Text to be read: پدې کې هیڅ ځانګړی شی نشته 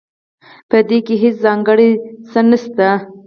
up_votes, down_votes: 0, 4